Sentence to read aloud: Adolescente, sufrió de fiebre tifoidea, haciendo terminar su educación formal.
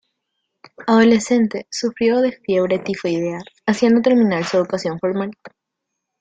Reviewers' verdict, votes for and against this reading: accepted, 2, 0